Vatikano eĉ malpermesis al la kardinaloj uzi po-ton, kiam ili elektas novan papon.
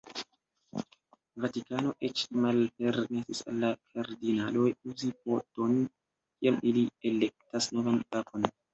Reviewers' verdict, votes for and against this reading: rejected, 0, 2